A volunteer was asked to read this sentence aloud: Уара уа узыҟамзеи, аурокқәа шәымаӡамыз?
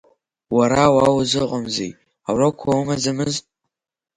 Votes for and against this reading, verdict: 1, 5, rejected